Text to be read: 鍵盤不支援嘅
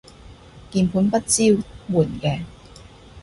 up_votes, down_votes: 2, 0